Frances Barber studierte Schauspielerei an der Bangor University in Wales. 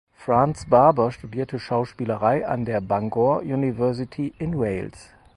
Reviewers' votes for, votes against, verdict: 2, 4, rejected